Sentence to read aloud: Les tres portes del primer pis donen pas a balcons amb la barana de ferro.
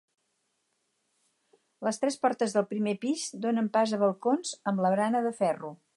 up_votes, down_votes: 4, 0